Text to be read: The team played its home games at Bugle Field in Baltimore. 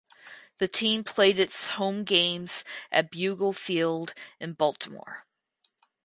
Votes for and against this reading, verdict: 4, 0, accepted